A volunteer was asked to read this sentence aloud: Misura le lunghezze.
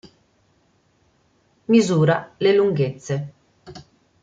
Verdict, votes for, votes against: accepted, 2, 0